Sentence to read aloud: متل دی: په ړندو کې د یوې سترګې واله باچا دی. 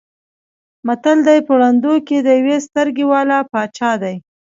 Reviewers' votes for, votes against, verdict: 2, 1, accepted